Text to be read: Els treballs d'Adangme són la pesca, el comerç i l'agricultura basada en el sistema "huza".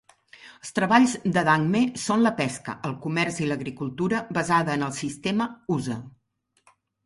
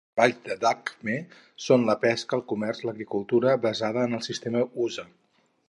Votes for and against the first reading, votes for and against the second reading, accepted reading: 2, 0, 0, 4, first